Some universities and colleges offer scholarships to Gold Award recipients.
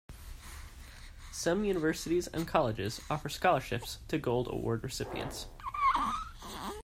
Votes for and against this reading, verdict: 2, 1, accepted